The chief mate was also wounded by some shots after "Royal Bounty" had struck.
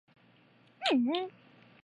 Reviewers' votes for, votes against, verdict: 0, 2, rejected